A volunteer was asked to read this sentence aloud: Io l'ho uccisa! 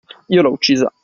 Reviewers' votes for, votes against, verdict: 2, 0, accepted